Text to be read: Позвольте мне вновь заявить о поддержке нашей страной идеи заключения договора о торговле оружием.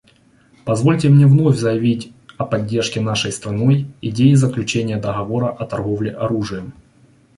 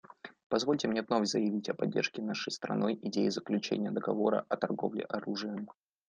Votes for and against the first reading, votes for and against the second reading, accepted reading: 2, 0, 1, 2, first